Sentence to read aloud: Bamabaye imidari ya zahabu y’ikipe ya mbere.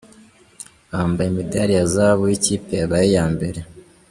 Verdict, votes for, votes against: accepted, 2, 1